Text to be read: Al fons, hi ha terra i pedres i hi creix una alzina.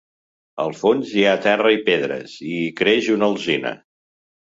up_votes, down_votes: 2, 0